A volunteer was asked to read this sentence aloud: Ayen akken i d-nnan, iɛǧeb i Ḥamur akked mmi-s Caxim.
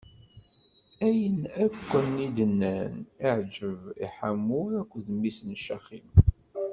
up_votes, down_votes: 0, 2